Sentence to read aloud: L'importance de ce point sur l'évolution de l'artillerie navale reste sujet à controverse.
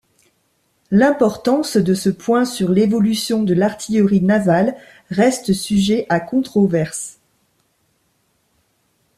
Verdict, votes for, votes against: rejected, 1, 2